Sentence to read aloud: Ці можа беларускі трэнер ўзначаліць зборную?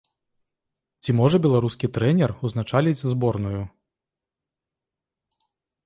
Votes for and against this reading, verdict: 2, 0, accepted